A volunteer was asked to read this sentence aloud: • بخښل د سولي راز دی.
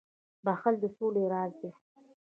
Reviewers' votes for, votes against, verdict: 2, 1, accepted